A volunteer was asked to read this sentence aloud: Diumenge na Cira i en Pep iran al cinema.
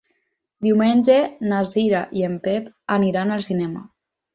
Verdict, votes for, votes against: rejected, 0, 4